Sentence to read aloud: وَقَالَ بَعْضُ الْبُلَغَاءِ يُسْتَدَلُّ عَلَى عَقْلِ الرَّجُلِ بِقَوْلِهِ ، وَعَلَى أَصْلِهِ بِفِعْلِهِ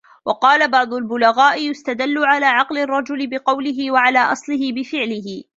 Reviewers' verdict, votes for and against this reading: rejected, 0, 2